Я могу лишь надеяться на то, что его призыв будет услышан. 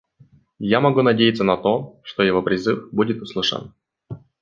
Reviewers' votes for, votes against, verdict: 1, 2, rejected